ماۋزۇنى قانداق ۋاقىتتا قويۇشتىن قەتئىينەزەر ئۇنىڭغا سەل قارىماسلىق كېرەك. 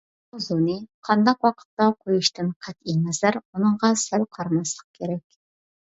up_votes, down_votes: 0, 2